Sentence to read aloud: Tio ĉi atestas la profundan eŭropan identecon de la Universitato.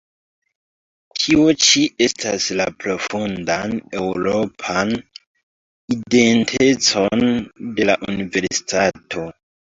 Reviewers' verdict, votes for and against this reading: accepted, 2, 1